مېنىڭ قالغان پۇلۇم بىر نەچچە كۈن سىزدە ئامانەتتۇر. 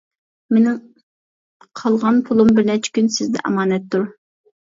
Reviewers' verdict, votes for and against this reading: accepted, 2, 0